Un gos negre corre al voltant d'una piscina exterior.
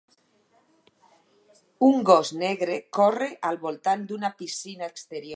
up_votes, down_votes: 0, 4